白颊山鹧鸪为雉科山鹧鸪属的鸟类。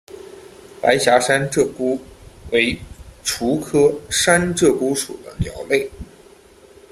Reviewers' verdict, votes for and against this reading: rejected, 1, 2